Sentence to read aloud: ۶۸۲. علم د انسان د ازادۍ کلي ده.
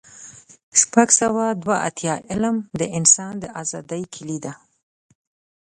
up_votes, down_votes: 0, 2